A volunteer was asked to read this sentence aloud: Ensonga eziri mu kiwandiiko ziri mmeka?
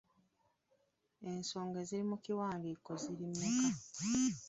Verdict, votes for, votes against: rejected, 1, 2